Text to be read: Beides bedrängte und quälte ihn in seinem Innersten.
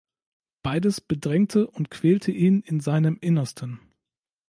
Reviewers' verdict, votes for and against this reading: accepted, 3, 0